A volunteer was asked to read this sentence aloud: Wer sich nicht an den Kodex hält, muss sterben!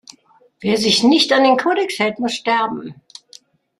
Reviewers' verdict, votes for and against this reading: rejected, 1, 2